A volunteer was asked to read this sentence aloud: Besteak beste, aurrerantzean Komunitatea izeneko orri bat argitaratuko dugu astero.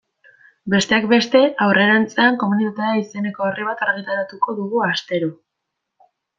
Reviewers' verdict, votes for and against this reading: accepted, 2, 0